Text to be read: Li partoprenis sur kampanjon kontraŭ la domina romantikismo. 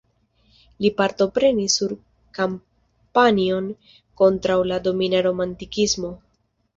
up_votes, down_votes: 2, 1